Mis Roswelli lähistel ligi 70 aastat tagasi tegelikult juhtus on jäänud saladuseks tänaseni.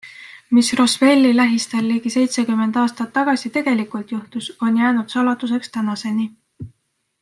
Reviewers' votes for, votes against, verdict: 0, 2, rejected